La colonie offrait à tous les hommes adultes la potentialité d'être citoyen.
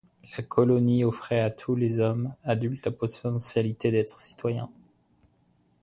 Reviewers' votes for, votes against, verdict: 1, 2, rejected